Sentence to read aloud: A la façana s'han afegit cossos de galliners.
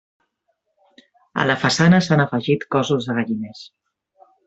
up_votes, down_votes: 3, 1